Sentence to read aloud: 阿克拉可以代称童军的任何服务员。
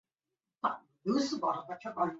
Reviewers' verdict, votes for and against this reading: rejected, 0, 2